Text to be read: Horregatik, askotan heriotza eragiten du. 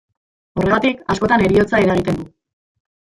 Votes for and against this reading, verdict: 0, 2, rejected